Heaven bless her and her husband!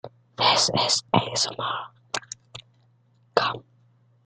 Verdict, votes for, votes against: rejected, 0, 2